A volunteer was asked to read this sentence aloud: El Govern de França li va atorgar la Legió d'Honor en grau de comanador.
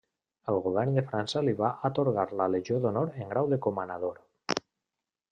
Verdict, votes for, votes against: accepted, 2, 0